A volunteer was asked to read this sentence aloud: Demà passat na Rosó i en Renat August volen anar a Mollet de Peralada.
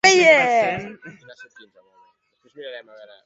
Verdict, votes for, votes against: rejected, 0, 2